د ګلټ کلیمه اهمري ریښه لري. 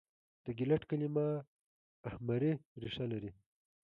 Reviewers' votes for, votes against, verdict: 2, 0, accepted